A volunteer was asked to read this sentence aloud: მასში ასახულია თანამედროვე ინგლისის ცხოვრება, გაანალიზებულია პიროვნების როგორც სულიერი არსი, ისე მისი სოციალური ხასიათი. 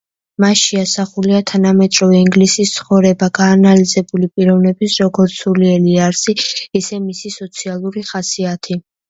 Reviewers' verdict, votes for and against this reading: rejected, 0, 2